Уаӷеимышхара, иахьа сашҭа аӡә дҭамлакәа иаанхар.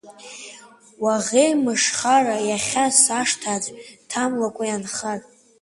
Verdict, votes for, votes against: accepted, 2, 0